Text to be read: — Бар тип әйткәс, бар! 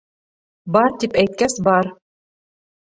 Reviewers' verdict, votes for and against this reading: accepted, 2, 0